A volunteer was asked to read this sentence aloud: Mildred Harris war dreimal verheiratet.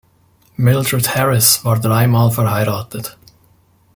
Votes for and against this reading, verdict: 2, 0, accepted